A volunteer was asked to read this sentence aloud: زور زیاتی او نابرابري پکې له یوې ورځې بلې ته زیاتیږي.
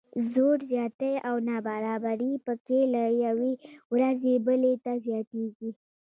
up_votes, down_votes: 3, 1